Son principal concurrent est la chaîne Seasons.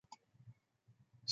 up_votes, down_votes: 0, 2